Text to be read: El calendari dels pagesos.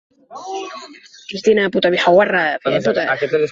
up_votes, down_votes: 0, 3